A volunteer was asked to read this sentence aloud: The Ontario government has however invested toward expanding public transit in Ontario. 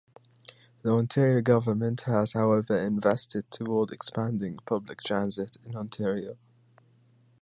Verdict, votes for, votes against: accepted, 3, 0